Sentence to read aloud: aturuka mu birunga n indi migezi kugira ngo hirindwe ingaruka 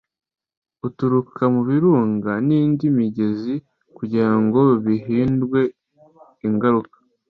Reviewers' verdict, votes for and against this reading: rejected, 0, 2